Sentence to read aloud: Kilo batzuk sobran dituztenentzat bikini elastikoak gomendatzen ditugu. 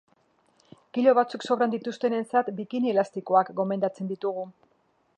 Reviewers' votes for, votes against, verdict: 3, 0, accepted